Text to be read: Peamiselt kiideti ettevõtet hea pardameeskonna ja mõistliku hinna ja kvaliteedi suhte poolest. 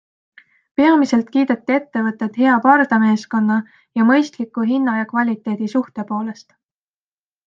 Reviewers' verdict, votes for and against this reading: accepted, 2, 0